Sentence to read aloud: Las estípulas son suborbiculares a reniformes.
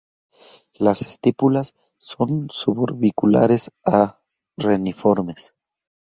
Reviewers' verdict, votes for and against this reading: accepted, 4, 0